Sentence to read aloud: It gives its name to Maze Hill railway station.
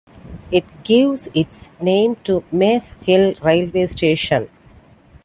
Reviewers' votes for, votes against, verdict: 2, 1, accepted